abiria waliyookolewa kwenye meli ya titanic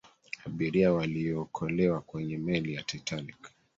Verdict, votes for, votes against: accepted, 2, 1